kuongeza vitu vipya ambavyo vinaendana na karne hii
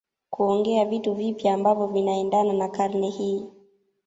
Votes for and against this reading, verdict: 1, 2, rejected